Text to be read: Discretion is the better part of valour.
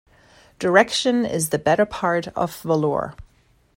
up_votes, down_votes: 0, 2